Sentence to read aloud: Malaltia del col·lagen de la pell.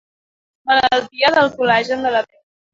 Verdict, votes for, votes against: rejected, 0, 2